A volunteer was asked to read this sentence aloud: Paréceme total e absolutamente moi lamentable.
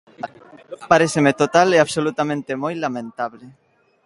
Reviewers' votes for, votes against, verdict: 2, 0, accepted